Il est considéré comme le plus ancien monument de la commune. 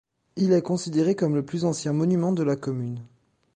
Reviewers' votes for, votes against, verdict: 2, 0, accepted